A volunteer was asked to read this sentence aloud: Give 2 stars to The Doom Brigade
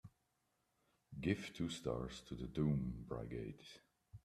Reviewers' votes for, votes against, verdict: 0, 2, rejected